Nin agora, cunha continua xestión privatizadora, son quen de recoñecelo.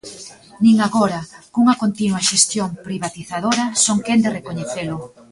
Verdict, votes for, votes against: rejected, 0, 2